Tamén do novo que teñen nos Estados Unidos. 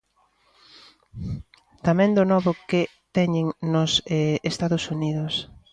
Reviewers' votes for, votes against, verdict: 0, 2, rejected